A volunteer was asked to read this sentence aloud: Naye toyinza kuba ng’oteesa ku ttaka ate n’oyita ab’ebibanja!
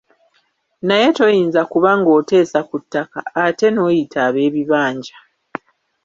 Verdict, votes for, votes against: rejected, 1, 2